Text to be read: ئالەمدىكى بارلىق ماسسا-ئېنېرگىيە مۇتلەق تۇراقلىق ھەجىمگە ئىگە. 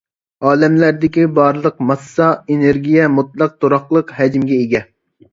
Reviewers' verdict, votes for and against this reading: rejected, 0, 2